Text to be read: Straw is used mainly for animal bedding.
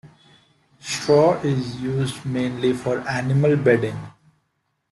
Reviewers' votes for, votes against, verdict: 2, 1, accepted